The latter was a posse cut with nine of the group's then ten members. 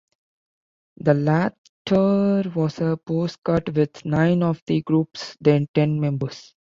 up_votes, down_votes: 0, 2